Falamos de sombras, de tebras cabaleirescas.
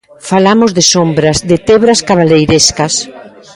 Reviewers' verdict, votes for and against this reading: accepted, 2, 1